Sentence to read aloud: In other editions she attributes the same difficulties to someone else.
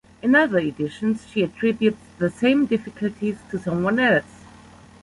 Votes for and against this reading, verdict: 1, 2, rejected